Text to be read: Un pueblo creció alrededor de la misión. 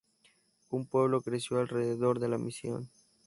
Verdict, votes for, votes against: accepted, 2, 0